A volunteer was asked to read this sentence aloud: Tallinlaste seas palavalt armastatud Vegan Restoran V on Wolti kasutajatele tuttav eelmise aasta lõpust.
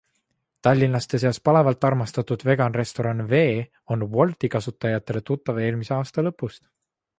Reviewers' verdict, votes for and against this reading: accepted, 2, 0